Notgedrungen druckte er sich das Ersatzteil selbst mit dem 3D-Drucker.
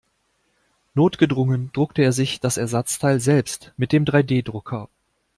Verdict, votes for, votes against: rejected, 0, 2